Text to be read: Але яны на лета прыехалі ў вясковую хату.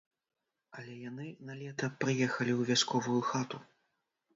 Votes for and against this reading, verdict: 0, 2, rejected